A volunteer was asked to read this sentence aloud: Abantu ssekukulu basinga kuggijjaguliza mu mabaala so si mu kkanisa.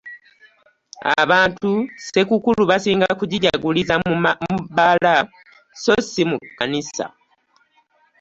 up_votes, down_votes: 0, 2